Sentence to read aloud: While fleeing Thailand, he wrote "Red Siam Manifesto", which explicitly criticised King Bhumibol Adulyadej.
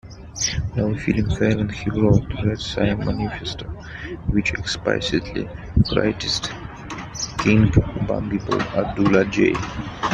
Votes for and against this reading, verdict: 0, 2, rejected